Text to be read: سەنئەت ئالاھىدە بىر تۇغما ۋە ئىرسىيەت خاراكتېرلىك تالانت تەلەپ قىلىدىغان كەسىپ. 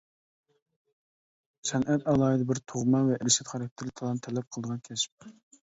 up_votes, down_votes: 1, 2